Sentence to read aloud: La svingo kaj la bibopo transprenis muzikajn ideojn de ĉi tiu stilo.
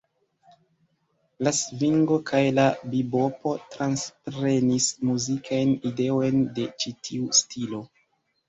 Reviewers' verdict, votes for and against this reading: rejected, 0, 2